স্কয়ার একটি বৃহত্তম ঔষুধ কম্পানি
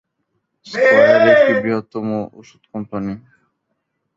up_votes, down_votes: 0, 2